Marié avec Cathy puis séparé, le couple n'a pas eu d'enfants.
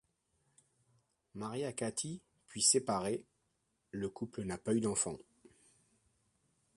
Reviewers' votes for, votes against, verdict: 1, 3, rejected